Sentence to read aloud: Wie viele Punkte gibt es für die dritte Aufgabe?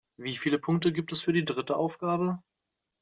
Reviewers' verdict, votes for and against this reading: accepted, 2, 0